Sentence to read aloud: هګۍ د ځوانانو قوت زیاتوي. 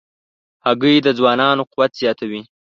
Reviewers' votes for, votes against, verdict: 2, 0, accepted